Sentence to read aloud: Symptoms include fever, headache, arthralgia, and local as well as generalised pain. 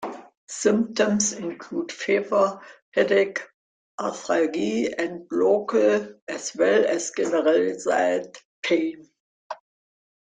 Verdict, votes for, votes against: rejected, 0, 2